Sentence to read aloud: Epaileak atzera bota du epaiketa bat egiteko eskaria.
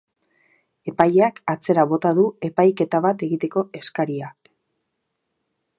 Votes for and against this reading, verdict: 4, 0, accepted